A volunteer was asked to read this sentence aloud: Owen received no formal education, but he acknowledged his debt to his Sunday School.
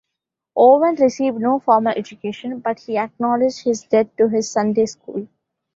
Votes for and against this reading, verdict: 1, 2, rejected